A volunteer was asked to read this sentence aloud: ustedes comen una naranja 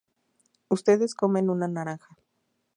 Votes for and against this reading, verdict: 0, 2, rejected